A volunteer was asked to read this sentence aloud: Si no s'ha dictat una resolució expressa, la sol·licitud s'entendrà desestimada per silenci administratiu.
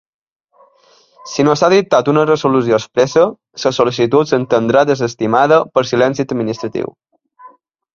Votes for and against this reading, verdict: 1, 2, rejected